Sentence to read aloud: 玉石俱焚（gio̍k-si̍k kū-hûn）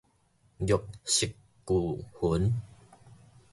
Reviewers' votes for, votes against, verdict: 2, 0, accepted